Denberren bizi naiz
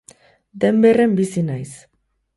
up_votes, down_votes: 4, 0